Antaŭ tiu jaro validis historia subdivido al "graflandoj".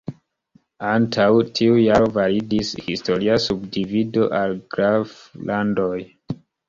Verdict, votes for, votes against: accepted, 2, 0